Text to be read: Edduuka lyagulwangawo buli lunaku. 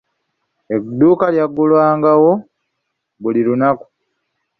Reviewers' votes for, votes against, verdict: 2, 0, accepted